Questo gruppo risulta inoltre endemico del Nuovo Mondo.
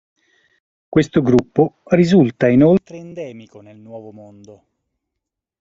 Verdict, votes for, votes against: rejected, 0, 2